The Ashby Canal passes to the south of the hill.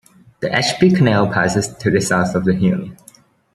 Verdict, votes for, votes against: accepted, 2, 0